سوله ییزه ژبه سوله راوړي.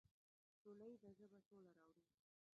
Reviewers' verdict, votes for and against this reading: rejected, 0, 2